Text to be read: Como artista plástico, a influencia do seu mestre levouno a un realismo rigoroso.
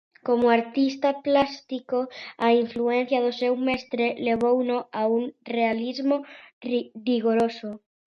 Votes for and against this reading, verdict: 0, 2, rejected